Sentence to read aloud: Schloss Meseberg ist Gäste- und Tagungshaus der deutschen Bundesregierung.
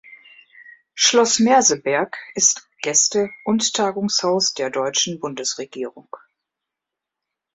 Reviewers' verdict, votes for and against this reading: rejected, 0, 2